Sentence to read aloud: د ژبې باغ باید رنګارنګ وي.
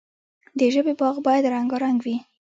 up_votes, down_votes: 2, 1